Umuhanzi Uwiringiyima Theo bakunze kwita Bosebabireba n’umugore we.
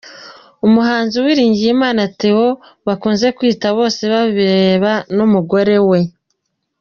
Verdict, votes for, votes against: accepted, 2, 0